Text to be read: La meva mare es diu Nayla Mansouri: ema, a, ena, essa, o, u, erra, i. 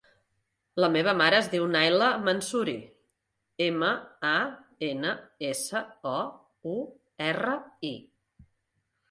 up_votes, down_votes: 2, 0